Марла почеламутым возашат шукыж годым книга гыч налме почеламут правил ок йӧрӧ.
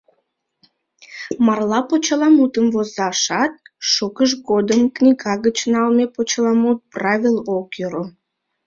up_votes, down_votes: 2, 1